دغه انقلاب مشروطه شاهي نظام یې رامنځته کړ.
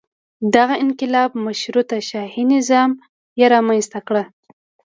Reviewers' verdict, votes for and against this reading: accepted, 2, 0